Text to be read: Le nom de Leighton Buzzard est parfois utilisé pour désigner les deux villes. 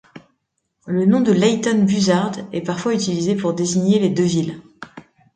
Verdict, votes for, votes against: accepted, 2, 0